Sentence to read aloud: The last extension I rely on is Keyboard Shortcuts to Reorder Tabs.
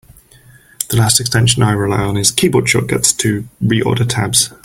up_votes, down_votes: 4, 0